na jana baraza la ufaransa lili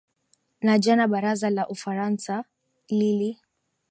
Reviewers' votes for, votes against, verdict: 2, 0, accepted